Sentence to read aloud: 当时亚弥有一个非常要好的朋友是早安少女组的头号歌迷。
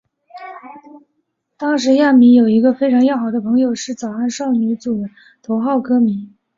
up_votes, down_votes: 1, 2